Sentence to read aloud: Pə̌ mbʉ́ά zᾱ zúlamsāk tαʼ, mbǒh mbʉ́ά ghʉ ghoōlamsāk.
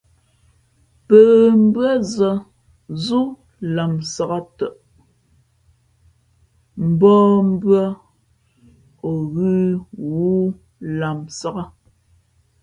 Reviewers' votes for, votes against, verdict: 0, 2, rejected